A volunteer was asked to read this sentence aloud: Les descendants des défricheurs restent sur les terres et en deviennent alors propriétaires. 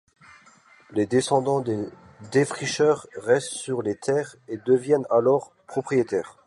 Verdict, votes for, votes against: rejected, 1, 2